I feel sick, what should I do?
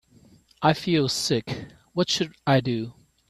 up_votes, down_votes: 2, 0